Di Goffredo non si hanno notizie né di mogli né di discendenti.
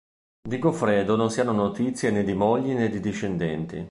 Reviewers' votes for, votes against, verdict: 2, 0, accepted